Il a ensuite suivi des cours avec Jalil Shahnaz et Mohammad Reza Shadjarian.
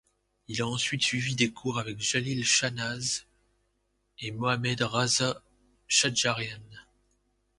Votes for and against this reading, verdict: 0, 2, rejected